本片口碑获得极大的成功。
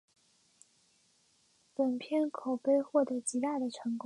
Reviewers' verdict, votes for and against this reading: accepted, 5, 0